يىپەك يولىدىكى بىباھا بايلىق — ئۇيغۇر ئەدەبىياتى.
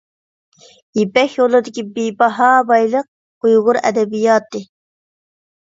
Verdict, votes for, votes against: accepted, 2, 0